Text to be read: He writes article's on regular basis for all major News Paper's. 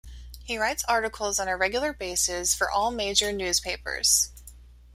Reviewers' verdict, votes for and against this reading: accepted, 2, 0